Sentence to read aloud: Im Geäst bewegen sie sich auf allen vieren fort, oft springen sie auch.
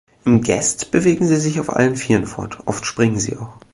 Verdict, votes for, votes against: rejected, 3, 4